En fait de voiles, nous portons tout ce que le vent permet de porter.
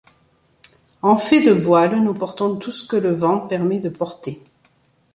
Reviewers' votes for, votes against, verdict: 2, 0, accepted